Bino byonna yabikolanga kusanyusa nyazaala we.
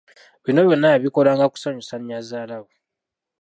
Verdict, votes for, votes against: rejected, 0, 2